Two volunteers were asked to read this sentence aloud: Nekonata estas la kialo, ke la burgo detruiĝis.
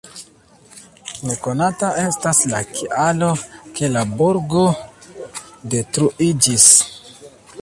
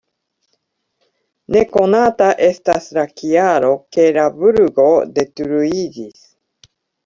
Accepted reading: second